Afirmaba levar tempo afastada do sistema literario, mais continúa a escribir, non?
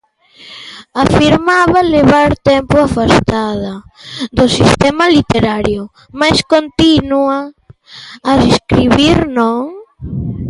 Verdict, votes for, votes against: rejected, 1, 2